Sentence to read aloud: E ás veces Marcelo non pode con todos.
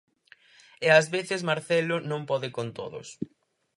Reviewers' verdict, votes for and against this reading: rejected, 2, 2